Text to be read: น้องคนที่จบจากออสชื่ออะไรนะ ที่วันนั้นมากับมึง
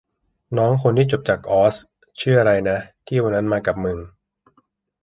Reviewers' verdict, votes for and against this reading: accepted, 2, 0